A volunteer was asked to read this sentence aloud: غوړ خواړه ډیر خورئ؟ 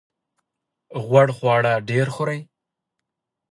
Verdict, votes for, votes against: accepted, 2, 1